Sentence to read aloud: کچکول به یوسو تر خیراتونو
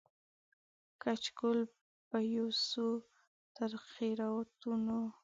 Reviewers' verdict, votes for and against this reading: rejected, 1, 2